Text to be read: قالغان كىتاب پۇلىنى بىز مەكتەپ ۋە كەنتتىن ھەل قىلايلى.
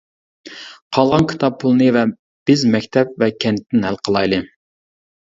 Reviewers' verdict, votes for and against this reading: rejected, 0, 2